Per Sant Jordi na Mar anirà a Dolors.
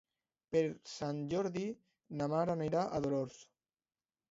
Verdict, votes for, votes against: accepted, 2, 0